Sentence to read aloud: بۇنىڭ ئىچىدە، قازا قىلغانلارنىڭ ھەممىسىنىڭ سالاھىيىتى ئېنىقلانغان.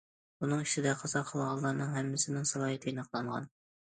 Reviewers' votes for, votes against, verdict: 2, 0, accepted